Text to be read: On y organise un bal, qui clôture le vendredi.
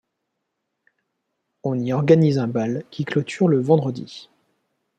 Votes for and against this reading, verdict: 2, 0, accepted